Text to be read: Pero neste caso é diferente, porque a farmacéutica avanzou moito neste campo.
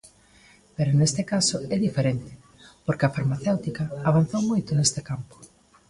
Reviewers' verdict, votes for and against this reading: accepted, 2, 0